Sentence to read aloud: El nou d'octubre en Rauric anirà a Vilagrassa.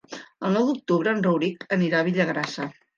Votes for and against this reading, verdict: 2, 3, rejected